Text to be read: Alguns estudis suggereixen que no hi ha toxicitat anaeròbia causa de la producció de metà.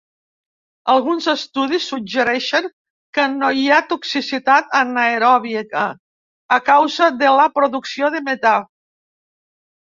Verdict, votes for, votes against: rejected, 0, 2